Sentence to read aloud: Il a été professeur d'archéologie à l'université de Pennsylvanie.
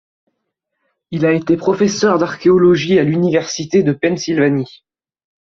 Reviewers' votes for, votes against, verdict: 2, 0, accepted